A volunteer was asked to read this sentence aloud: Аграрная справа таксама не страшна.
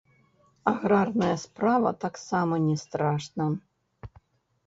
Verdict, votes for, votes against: rejected, 0, 2